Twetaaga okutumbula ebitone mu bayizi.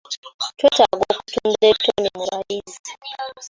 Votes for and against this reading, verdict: 1, 2, rejected